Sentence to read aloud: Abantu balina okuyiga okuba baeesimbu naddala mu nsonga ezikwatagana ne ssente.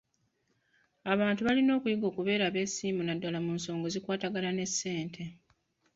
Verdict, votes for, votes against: rejected, 1, 2